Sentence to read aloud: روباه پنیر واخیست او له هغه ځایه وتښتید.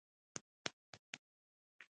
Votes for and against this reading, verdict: 2, 0, accepted